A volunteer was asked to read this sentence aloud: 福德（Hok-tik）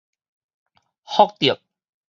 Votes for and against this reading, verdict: 4, 0, accepted